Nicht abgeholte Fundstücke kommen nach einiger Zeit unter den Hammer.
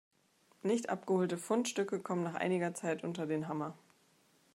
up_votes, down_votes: 2, 0